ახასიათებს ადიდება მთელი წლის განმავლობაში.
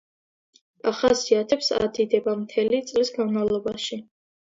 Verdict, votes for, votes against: accepted, 2, 0